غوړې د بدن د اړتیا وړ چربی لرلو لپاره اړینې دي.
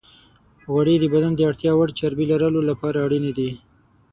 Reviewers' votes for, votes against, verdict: 3, 6, rejected